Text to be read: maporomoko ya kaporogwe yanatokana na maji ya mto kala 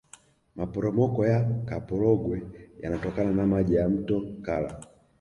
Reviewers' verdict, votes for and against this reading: rejected, 1, 2